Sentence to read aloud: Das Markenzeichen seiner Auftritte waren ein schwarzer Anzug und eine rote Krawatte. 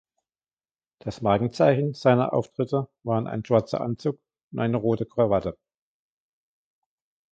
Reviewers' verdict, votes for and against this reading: accepted, 2, 1